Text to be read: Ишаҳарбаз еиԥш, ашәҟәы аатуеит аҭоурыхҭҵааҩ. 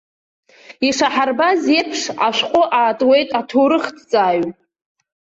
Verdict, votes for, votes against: accepted, 2, 0